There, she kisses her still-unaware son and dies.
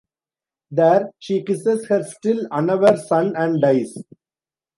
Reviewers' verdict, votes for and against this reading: accepted, 2, 1